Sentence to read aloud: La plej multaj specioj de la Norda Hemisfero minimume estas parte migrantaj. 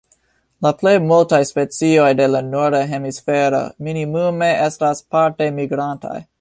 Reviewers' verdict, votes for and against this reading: rejected, 1, 2